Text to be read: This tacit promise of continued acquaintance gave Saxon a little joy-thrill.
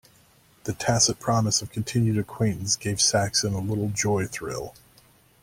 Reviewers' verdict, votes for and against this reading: rejected, 0, 2